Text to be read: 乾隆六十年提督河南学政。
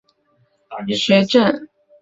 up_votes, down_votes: 0, 2